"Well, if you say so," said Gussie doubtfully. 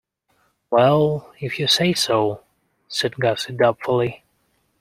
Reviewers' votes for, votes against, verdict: 2, 0, accepted